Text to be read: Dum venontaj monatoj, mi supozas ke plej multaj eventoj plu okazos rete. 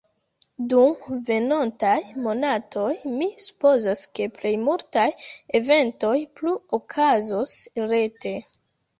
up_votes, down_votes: 2, 1